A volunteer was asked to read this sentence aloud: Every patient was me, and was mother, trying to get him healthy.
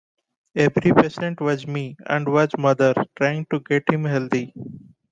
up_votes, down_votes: 2, 0